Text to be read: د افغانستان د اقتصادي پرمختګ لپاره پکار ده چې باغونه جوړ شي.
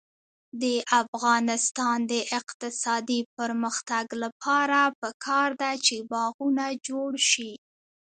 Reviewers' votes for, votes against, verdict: 0, 2, rejected